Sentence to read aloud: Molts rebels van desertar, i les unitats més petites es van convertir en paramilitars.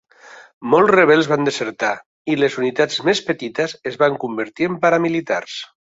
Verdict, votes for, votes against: accepted, 3, 1